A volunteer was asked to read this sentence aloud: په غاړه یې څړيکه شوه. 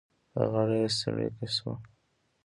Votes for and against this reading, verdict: 2, 0, accepted